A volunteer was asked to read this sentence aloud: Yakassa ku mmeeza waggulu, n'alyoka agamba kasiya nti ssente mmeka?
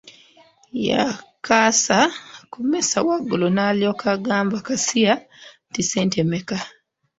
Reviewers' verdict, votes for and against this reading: accepted, 2, 1